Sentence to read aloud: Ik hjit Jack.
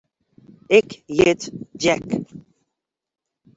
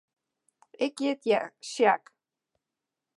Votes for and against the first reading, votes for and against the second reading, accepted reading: 2, 0, 0, 2, first